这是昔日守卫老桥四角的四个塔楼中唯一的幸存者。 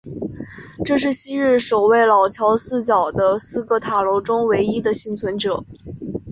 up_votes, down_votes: 2, 0